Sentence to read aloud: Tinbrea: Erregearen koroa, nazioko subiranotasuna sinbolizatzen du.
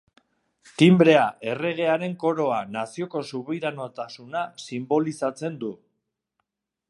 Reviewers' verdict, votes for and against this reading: accepted, 4, 0